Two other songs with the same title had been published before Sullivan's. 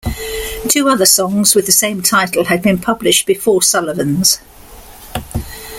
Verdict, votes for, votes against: accepted, 2, 0